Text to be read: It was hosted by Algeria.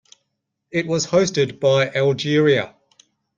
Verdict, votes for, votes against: accepted, 2, 0